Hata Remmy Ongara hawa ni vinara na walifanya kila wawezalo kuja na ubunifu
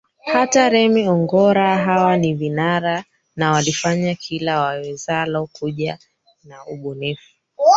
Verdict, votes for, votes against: rejected, 0, 3